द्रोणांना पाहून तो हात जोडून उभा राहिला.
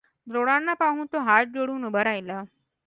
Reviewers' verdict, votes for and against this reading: accepted, 2, 0